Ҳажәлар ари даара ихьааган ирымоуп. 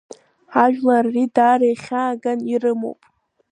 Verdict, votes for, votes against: accepted, 2, 0